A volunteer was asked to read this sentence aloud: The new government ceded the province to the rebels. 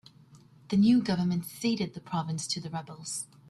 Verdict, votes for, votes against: accepted, 2, 0